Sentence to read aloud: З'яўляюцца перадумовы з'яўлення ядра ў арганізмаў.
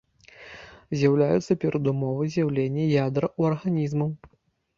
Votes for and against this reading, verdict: 0, 2, rejected